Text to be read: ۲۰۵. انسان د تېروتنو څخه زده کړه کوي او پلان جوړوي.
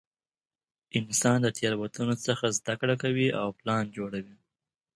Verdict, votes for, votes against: rejected, 0, 2